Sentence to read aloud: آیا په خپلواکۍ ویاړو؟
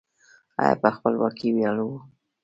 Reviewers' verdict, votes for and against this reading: accepted, 2, 1